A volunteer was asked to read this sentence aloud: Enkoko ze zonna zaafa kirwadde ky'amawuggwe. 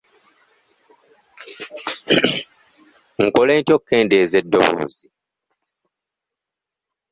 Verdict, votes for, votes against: rejected, 1, 2